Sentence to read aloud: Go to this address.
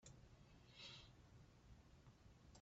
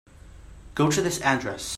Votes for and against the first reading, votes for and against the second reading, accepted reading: 0, 2, 3, 0, second